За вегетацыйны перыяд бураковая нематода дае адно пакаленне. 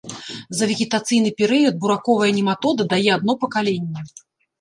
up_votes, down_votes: 2, 0